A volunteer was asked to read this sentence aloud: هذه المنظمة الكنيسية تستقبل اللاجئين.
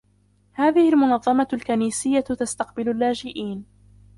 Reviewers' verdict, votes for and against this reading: rejected, 0, 2